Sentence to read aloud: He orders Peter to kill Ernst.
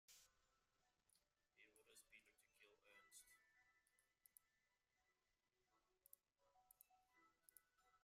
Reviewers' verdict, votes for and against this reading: rejected, 0, 2